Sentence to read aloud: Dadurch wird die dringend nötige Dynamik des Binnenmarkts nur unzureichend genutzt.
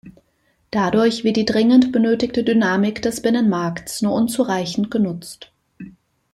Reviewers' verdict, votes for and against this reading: rejected, 0, 2